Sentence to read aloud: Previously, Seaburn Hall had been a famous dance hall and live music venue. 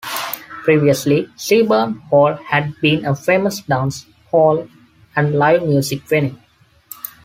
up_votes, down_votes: 2, 0